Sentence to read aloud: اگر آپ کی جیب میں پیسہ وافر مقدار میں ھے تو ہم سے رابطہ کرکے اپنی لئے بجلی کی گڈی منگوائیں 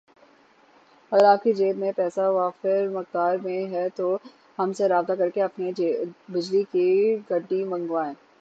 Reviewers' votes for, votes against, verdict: 3, 0, accepted